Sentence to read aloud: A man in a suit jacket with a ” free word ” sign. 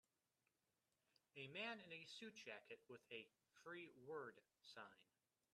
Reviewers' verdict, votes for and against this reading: accepted, 2, 1